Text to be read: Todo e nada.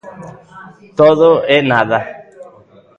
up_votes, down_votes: 2, 1